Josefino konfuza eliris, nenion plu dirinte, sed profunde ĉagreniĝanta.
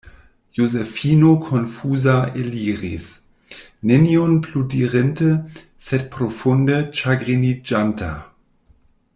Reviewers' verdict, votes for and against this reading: rejected, 1, 2